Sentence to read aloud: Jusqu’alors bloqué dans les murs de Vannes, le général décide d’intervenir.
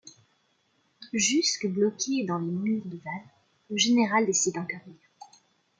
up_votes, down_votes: 2, 1